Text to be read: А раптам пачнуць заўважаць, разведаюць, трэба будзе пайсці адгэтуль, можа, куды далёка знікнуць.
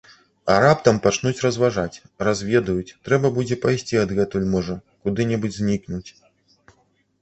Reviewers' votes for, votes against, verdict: 0, 2, rejected